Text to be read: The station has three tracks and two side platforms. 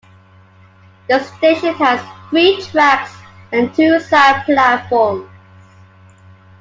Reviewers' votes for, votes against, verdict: 2, 1, accepted